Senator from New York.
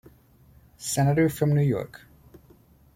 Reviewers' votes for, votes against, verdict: 2, 0, accepted